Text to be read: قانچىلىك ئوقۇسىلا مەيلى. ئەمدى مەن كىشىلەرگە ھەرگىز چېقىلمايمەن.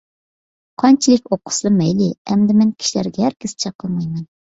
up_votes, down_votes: 2, 0